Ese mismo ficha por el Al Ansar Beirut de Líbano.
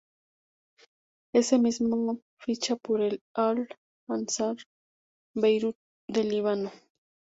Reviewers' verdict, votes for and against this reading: rejected, 0, 2